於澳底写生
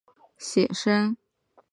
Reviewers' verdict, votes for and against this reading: rejected, 1, 2